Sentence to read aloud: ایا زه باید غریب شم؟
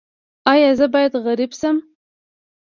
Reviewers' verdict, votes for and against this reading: accepted, 2, 0